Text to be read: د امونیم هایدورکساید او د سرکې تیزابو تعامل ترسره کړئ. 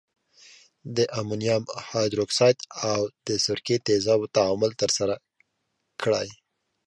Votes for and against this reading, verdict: 2, 0, accepted